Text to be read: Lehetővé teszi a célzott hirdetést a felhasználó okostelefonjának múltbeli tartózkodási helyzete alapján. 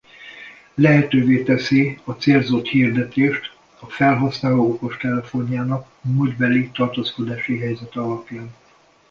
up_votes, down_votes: 2, 0